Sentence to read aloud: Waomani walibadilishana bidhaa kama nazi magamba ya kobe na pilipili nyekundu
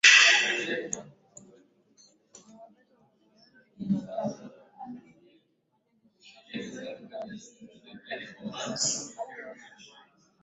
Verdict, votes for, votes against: rejected, 0, 2